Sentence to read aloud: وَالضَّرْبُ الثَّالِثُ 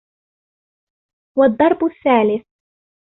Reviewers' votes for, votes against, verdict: 2, 0, accepted